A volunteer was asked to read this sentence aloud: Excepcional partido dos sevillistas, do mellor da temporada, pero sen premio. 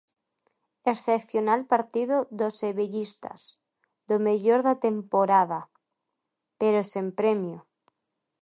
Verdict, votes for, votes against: accepted, 2, 1